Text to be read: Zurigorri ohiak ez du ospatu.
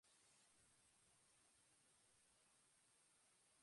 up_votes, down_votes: 0, 2